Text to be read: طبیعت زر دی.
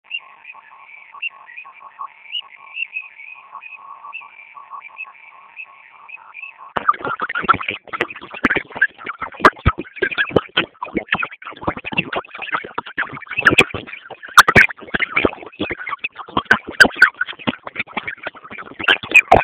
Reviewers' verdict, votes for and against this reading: rejected, 0, 2